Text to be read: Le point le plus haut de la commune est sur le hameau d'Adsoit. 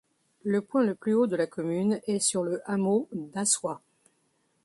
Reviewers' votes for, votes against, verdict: 1, 2, rejected